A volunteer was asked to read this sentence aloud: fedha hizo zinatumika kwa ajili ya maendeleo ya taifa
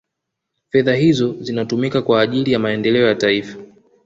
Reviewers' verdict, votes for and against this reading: accepted, 2, 0